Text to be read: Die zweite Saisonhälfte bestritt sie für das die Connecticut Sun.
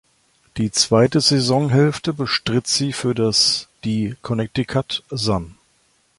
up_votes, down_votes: 1, 2